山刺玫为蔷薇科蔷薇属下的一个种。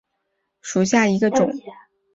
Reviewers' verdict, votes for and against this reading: rejected, 1, 3